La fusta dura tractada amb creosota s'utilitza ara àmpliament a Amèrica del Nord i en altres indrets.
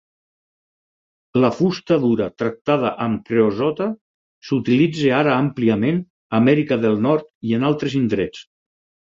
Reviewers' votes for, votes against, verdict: 6, 0, accepted